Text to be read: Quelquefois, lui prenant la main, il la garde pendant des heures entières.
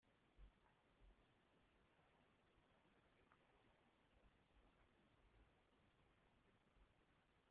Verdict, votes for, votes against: rejected, 0, 2